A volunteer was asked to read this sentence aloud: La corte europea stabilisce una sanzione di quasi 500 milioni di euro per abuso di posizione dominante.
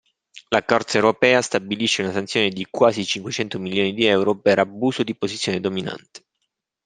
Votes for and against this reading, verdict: 0, 2, rejected